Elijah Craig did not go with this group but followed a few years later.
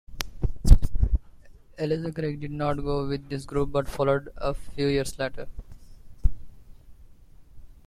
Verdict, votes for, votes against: accepted, 2, 0